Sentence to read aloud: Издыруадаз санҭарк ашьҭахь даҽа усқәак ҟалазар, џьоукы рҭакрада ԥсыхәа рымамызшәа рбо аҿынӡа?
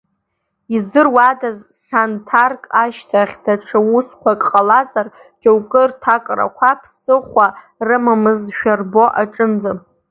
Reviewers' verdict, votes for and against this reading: rejected, 1, 2